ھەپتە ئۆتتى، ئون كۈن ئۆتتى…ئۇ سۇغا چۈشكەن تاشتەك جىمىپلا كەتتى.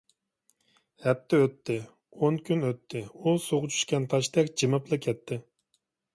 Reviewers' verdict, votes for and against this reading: accepted, 2, 0